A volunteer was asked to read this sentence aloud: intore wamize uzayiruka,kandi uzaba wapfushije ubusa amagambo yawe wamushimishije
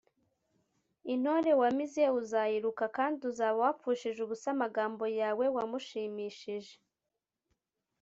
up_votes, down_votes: 2, 0